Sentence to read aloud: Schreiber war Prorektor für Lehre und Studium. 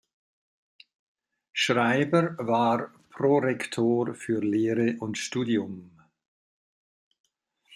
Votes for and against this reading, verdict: 2, 0, accepted